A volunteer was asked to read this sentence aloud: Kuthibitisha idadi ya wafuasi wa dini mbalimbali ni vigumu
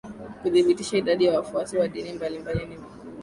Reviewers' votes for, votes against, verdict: 3, 0, accepted